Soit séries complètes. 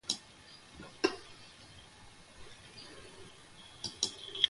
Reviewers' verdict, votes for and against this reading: rejected, 0, 2